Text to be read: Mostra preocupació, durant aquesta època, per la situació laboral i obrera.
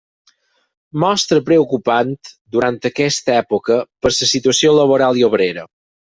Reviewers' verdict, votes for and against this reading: rejected, 0, 4